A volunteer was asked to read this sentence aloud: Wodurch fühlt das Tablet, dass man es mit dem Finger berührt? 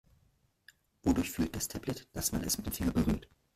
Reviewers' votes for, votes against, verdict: 1, 2, rejected